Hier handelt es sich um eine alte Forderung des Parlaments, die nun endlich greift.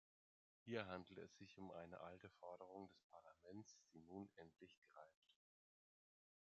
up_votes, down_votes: 1, 2